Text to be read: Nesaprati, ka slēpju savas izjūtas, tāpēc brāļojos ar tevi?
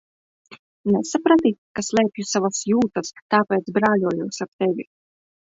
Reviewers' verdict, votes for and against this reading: rejected, 0, 2